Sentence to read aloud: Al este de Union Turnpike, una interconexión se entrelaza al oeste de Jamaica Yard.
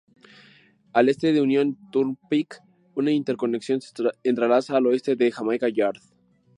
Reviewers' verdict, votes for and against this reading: rejected, 0, 2